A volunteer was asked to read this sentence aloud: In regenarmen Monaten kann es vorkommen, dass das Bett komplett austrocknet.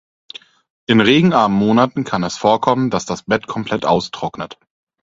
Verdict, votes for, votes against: accepted, 4, 0